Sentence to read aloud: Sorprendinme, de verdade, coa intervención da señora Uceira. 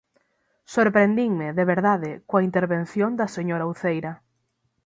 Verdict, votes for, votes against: accepted, 6, 0